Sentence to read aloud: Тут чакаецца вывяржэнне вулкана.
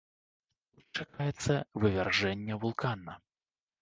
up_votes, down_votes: 1, 2